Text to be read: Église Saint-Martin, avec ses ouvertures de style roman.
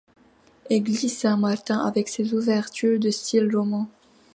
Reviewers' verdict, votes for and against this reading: accepted, 2, 0